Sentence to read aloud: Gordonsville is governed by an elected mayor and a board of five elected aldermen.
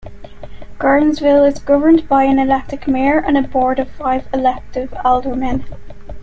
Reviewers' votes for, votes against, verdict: 2, 0, accepted